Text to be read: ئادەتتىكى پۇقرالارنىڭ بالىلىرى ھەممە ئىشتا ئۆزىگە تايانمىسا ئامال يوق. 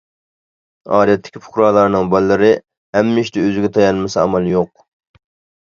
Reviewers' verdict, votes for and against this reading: accepted, 2, 0